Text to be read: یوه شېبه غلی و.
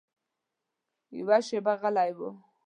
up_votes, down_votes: 2, 0